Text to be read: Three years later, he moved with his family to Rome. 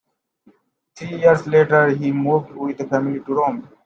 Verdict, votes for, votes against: accepted, 2, 0